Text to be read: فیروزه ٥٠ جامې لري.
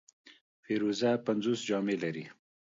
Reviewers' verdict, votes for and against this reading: rejected, 0, 2